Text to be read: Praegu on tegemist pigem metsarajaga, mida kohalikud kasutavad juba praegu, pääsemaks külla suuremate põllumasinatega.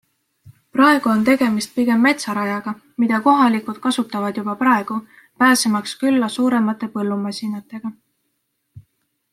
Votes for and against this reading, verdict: 2, 0, accepted